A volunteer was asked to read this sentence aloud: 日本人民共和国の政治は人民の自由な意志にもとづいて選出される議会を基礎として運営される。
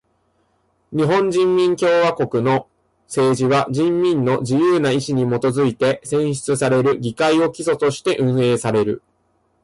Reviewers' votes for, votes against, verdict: 2, 0, accepted